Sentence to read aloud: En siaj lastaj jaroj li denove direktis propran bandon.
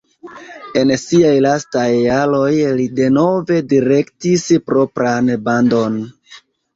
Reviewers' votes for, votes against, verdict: 1, 2, rejected